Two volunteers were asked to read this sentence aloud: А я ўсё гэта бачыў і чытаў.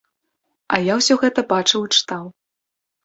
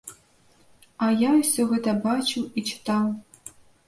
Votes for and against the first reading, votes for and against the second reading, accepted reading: 3, 0, 1, 2, first